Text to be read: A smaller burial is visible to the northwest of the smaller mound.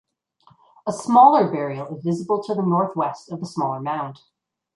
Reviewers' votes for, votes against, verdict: 2, 0, accepted